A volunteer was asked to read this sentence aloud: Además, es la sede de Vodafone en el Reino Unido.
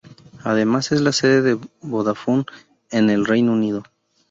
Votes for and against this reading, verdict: 2, 0, accepted